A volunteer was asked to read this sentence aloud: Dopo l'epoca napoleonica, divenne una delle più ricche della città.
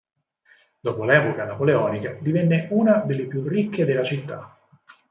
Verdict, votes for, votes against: accepted, 4, 0